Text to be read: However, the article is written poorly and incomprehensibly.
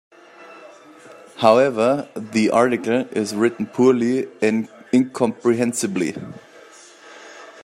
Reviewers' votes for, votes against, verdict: 3, 2, accepted